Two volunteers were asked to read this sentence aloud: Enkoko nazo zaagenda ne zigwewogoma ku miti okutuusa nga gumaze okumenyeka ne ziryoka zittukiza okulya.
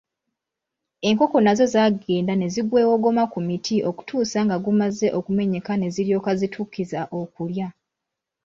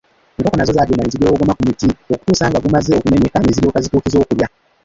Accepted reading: first